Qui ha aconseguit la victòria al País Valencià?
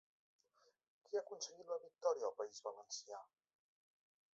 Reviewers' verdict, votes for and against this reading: accepted, 3, 0